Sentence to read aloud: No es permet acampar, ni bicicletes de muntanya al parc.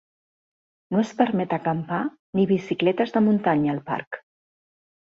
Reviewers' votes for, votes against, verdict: 4, 0, accepted